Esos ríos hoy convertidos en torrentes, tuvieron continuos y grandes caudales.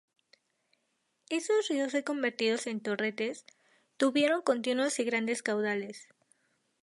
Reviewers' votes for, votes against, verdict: 0, 2, rejected